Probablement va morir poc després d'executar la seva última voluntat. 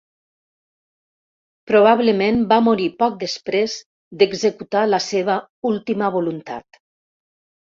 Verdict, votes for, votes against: accepted, 2, 0